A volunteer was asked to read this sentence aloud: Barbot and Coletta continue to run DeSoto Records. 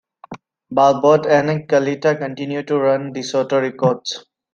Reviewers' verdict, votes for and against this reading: accepted, 2, 0